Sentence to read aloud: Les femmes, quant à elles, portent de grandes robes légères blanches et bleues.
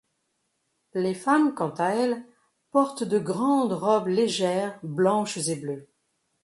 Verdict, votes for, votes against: accepted, 2, 0